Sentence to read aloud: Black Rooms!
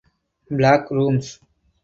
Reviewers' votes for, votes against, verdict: 4, 0, accepted